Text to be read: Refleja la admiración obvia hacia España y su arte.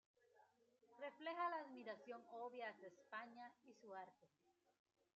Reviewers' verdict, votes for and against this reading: rejected, 0, 2